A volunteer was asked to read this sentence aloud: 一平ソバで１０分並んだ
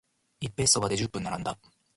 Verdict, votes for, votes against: rejected, 0, 2